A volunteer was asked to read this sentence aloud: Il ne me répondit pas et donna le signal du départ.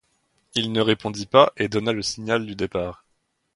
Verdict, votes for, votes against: rejected, 0, 2